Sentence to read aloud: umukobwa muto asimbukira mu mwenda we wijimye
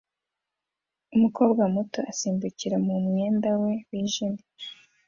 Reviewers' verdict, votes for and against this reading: accepted, 2, 0